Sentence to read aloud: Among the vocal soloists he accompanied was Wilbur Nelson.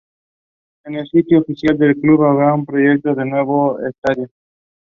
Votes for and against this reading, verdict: 0, 2, rejected